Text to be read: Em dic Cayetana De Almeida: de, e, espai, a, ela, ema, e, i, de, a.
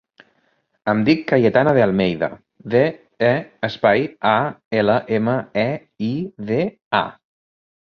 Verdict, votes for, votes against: accepted, 3, 0